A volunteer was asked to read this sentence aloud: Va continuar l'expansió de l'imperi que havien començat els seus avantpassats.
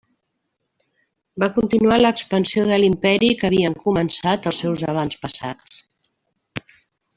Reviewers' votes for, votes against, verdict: 2, 1, accepted